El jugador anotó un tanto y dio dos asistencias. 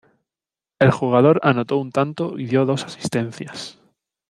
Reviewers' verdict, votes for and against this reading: accepted, 2, 0